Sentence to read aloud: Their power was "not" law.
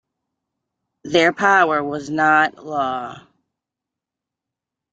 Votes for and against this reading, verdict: 2, 0, accepted